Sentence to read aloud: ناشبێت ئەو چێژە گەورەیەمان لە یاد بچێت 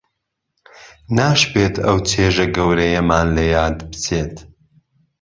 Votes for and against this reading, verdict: 2, 0, accepted